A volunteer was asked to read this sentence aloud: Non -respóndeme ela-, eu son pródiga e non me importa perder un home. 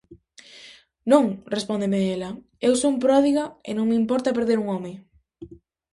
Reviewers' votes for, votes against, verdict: 2, 0, accepted